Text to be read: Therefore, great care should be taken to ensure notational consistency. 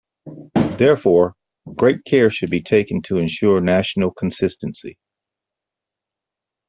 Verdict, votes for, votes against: rejected, 0, 2